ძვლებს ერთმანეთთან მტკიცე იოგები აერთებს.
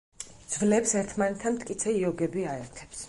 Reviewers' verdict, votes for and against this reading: accepted, 4, 0